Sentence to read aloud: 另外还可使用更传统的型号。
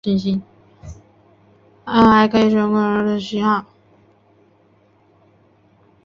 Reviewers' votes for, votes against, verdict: 1, 3, rejected